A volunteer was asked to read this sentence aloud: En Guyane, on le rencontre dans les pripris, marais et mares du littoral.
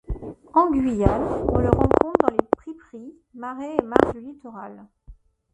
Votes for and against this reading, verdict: 0, 2, rejected